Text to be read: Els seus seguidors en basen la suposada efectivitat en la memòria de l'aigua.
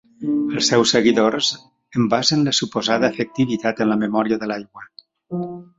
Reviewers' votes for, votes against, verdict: 2, 1, accepted